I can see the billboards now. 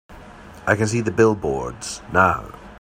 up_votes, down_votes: 3, 0